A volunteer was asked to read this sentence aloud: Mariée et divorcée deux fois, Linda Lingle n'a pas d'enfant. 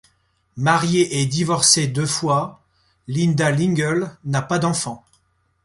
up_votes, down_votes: 2, 0